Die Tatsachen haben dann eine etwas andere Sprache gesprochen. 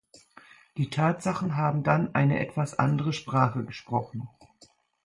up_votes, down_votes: 2, 0